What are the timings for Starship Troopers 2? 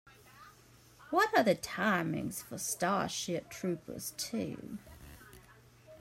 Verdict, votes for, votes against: rejected, 0, 2